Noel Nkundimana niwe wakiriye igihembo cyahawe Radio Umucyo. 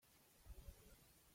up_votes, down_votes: 0, 2